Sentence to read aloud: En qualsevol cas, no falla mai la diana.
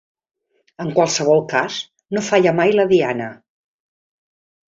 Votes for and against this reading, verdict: 3, 0, accepted